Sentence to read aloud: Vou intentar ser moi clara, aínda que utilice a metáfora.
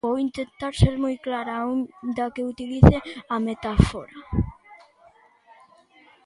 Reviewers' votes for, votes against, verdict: 0, 2, rejected